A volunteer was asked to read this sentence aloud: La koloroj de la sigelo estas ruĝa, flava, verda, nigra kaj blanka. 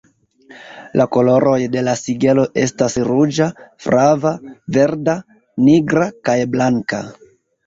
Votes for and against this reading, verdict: 0, 2, rejected